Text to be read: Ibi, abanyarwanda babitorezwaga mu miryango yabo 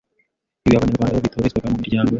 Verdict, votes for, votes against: rejected, 0, 2